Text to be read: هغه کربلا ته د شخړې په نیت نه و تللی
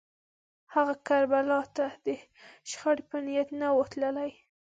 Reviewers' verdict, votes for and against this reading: accepted, 2, 0